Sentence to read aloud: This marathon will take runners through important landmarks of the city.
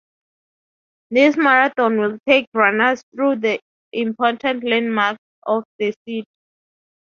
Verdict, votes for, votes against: rejected, 0, 4